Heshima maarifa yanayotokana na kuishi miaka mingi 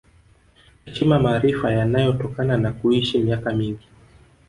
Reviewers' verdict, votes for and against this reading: accepted, 4, 0